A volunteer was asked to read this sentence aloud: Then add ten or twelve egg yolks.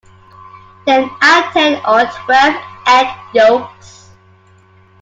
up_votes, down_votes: 0, 2